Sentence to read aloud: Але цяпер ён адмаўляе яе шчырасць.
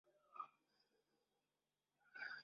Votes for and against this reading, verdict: 0, 2, rejected